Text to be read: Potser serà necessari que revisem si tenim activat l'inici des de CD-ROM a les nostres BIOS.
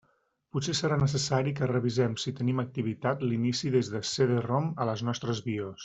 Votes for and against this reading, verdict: 1, 2, rejected